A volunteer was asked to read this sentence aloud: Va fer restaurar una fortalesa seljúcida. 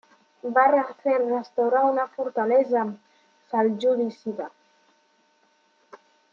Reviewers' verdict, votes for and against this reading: rejected, 1, 2